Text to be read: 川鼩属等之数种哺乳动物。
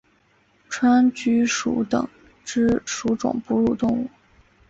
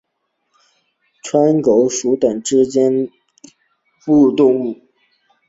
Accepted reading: first